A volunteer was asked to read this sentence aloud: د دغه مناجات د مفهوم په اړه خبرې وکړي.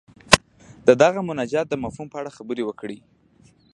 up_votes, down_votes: 2, 0